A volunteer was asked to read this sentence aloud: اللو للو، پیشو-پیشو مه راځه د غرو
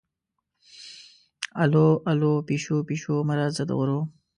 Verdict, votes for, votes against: rejected, 1, 2